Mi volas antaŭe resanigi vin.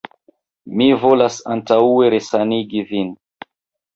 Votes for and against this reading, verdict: 1, 2, rejected